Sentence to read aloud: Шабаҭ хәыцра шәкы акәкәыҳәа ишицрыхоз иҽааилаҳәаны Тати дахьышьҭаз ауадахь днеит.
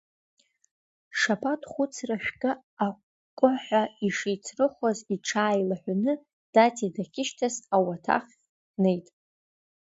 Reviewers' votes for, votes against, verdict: 2, 1, accepted